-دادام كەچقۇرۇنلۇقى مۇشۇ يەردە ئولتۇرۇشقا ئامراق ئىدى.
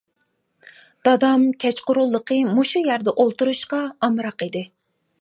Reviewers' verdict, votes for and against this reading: accepted, 2, 0